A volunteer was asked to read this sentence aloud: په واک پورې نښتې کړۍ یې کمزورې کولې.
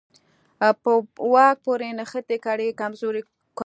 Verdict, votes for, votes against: rejected, 1, 2